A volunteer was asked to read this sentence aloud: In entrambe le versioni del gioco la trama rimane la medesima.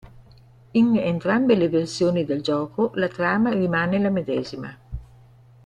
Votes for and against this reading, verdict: 2, 0, accepted